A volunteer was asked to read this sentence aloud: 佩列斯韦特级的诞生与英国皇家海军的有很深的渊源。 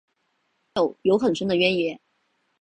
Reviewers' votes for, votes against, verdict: 0, 2, rejected